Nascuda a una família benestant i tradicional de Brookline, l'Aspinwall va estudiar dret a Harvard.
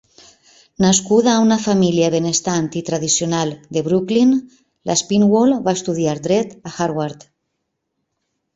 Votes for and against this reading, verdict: 2, 0, accepted